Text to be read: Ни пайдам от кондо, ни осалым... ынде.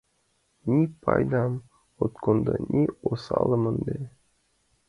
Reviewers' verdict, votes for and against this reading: accepted, 2, 1